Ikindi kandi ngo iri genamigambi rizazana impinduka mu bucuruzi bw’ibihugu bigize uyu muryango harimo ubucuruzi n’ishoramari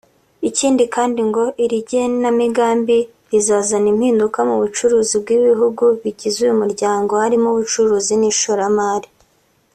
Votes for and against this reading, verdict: 2, 0, accepted